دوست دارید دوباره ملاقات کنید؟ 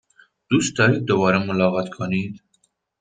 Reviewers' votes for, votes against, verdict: 2, 0, accepted